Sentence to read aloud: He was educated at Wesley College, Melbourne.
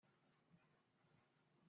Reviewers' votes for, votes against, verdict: 0, 2, rejected